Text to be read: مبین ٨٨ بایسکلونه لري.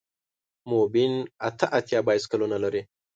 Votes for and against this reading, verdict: 0, 2, rejected